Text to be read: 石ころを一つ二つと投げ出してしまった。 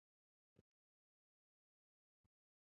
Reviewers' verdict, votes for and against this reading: rejected, 1, 2